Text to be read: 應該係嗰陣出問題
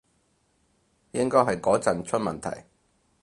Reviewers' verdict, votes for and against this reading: accepted, 4, 0